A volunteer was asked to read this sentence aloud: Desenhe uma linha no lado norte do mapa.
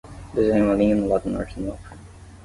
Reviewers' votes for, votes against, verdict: 5, 5, rejected